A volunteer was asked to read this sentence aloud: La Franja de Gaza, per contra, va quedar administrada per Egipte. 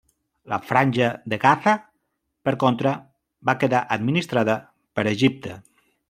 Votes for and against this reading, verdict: 1, 2, rejected